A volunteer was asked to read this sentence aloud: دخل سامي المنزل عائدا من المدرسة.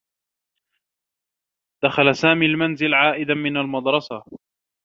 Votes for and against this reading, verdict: 2, 0, accepted